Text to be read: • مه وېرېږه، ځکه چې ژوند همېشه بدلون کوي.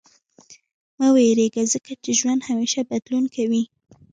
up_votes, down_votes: 2, 1